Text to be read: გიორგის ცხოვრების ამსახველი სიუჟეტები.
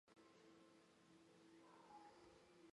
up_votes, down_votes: 0, 2